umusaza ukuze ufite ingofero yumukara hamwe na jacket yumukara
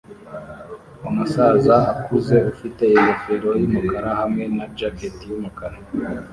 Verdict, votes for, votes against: rejected, 1, 2